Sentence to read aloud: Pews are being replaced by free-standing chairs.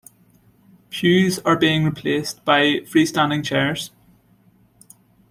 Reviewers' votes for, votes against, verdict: 2, 1, accepted